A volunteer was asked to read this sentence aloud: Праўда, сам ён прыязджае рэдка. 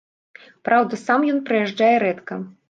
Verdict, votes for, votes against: accepted, 2, 0